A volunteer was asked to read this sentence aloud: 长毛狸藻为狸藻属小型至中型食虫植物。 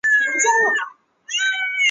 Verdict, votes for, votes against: rejected, 1, 7